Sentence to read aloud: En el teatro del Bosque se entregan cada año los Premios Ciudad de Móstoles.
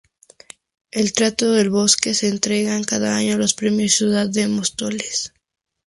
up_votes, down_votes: 0, 2